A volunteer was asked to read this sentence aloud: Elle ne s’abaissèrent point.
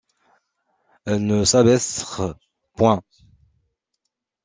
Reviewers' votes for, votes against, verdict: 0, 2, rejected